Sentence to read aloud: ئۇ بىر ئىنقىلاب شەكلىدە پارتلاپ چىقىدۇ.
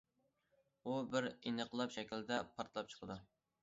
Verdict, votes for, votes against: accepted, 2, 0